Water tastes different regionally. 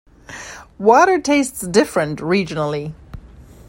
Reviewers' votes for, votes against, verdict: 2, 0, accepted